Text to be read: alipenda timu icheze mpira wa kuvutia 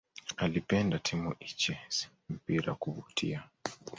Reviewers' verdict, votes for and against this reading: rejected, 1, 2